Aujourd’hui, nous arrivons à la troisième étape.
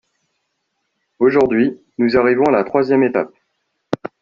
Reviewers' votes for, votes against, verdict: 2, 1, accepted